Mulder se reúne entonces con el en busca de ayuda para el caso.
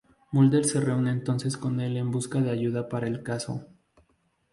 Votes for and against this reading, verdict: 2, 0, accepted